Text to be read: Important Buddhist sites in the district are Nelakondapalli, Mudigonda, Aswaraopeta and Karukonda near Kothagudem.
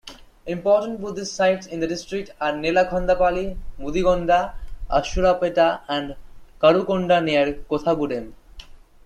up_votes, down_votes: 1, 2